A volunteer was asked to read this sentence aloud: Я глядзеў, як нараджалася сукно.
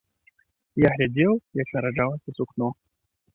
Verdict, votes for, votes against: accepted, 2, 0